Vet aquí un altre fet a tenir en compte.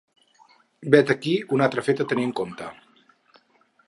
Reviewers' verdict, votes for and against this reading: rejected, 2, 4